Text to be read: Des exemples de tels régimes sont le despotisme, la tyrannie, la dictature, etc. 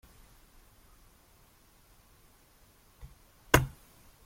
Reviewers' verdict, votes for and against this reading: rejected, 0, 2